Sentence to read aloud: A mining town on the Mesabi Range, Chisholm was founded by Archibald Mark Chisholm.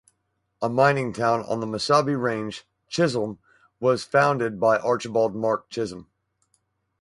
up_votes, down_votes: 4, 0